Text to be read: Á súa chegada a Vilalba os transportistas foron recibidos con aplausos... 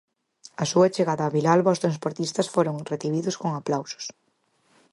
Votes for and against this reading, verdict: 4, 0, accepted